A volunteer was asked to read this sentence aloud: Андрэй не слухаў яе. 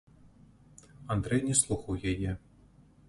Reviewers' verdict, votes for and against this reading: accepted, 2, 1